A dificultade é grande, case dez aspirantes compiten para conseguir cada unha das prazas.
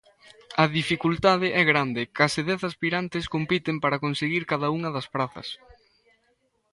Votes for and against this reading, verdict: 0, 2, rejected